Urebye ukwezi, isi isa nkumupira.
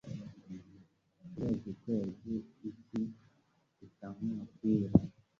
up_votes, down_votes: 1, 2